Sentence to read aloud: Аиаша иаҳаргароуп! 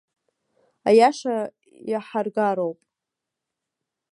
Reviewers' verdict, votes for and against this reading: rejected, 0, 2